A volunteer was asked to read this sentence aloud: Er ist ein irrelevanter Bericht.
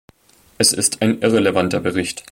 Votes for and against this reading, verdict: 0, 2, rejected